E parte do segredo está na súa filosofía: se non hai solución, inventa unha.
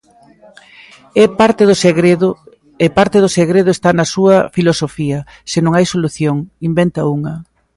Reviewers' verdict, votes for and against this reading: accepted, 2, 0